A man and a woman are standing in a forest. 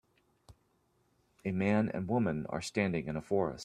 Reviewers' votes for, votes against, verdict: 0, 2, rejected